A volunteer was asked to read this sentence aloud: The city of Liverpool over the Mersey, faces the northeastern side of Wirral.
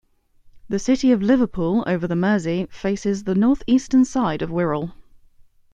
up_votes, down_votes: 2, 0